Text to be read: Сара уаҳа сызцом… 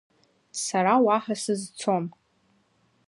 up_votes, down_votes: 2, 0